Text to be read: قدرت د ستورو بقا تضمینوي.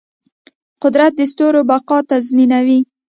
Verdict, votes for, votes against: rejected, 1, 2